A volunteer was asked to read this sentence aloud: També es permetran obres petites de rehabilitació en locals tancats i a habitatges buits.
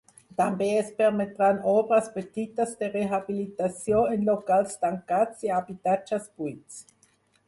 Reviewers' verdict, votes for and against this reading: accepted, 4, 0